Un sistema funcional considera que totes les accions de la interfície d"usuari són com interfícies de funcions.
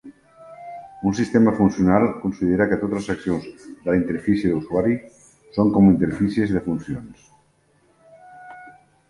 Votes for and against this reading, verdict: 2, 0, accepted